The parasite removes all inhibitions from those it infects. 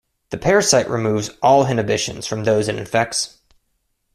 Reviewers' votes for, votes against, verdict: 0, 2, rejected